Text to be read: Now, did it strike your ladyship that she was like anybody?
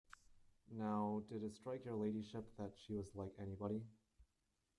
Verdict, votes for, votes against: rejected, 1, 2